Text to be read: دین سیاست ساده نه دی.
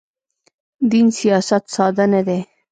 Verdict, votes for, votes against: accepted, 2, 0